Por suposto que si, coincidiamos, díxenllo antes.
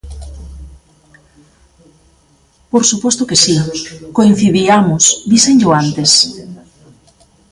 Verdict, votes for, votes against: rejected, 0, 2